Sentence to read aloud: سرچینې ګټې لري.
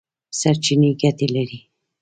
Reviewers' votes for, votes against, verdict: 1, 2, rejected